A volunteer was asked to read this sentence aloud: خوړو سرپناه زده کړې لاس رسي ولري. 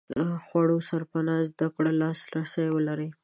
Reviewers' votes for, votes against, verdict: 2, 1, accepted